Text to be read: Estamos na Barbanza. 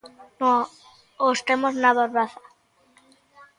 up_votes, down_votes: 0, 2